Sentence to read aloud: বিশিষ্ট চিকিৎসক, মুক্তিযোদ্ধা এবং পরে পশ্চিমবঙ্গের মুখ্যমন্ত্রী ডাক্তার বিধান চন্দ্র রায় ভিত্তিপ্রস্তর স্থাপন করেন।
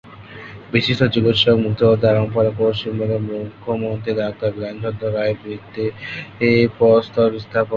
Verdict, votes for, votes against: rejected, 0, 2